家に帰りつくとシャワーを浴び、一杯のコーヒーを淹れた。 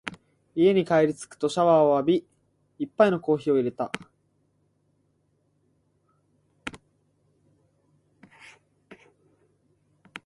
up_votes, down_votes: 2, 0